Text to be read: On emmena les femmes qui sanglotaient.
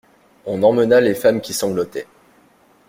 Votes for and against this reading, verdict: 2, 0, accepted